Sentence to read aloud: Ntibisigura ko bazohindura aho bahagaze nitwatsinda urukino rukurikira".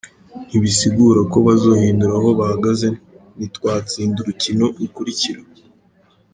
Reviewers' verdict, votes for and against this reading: rejected, 0, 2